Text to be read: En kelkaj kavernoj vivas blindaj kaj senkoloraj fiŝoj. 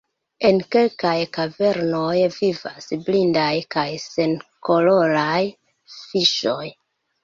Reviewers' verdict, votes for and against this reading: accepted, 3, 1